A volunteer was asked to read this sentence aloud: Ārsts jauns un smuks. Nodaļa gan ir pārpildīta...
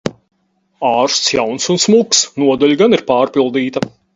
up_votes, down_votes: 4, 0